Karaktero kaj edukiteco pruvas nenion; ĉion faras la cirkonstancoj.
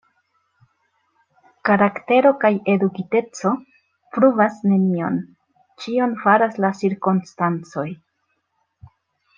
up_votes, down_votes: 0, 2